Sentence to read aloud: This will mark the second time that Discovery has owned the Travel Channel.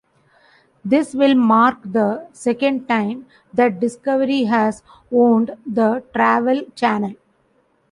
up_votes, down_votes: 2, 0